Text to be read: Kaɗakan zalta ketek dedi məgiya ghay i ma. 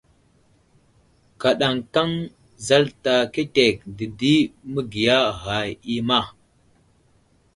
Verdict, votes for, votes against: rejected, 1, 2